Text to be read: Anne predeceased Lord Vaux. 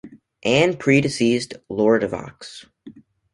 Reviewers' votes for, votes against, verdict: 1, 2, rejected